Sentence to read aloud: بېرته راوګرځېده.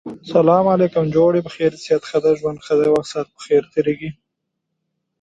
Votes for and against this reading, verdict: 0, 2, rejected